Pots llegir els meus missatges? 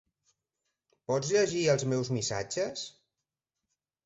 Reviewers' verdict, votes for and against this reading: accepted, 3, 0